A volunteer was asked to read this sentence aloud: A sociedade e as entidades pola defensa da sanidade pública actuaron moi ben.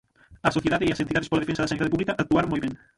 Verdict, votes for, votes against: rejected, 0, 6